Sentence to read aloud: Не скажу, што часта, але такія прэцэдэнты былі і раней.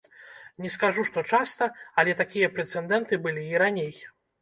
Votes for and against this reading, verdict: 0, 2, rejected